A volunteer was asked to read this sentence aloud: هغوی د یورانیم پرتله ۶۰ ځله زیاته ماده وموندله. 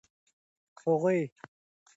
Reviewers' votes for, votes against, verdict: 0, 2, rejected